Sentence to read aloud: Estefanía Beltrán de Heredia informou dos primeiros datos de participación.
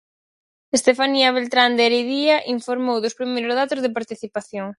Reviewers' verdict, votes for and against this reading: rejected, 2, 4